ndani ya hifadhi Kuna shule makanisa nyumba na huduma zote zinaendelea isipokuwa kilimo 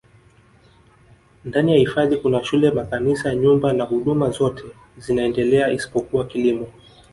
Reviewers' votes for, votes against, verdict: 0, 2, rejected